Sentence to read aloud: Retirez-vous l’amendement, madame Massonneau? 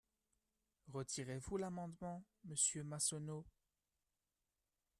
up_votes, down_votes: 0, 2